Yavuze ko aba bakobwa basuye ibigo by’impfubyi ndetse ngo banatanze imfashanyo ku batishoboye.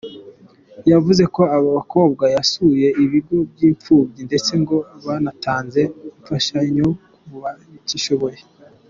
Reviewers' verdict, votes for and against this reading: accepted, 2, 0